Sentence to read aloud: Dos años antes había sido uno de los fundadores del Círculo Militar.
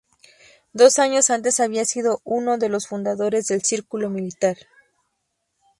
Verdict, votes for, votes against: accepted, 2, 0